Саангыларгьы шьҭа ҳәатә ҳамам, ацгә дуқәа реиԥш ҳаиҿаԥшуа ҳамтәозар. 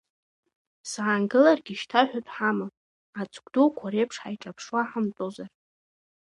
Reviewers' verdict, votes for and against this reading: accepted, 2, 0